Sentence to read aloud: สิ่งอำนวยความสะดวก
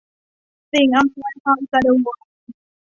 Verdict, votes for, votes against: accepted, 2, 0